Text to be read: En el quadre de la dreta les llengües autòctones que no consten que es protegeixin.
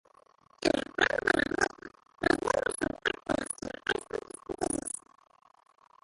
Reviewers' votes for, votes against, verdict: 0, 2, rejected